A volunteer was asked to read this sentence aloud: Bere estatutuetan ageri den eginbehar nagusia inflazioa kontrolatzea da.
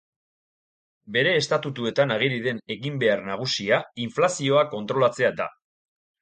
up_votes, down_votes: 2, 0